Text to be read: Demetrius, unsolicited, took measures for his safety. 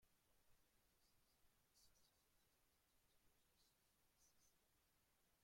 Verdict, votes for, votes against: rejected, 0, 2